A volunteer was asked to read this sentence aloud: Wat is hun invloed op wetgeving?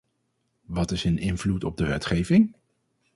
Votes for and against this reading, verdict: 0, 4, rejected